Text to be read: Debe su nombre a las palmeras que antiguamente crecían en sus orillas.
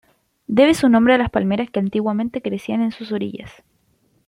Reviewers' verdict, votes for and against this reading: accepted, 2, 0